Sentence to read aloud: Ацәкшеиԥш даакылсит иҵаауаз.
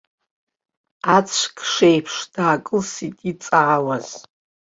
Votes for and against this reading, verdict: 4, 2, accepted